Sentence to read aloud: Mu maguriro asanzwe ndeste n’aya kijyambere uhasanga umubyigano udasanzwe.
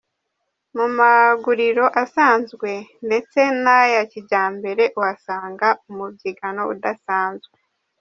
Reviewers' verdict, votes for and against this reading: rejected, 1, 2